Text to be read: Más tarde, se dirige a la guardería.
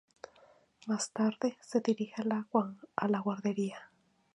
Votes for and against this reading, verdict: 0, 2, rejected